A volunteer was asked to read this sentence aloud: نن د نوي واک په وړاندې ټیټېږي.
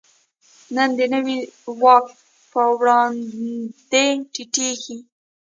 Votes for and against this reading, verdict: 2, 0, accepted